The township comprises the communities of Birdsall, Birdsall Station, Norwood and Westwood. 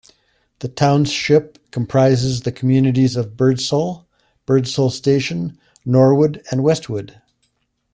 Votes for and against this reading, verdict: 2, 0, accepted